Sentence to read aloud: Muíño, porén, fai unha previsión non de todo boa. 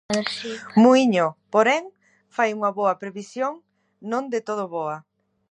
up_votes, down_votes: 0, 2